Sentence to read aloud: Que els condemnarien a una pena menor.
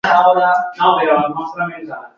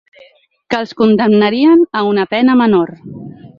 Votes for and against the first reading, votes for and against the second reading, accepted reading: 0, 2, 3, 0, second